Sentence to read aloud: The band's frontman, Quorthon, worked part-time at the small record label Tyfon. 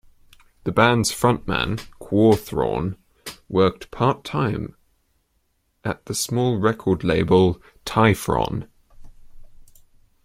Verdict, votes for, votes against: accepted, 2, 0